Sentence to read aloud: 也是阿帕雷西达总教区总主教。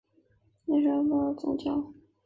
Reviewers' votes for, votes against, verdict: 0, 2, rejected